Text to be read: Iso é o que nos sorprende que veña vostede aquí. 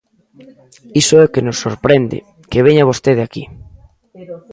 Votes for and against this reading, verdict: 1, 2, rejected